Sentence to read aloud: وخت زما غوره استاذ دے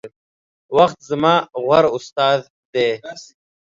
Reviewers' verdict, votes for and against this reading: accepted, 2, 0